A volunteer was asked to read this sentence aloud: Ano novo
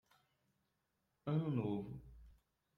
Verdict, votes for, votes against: accepted, 2, 1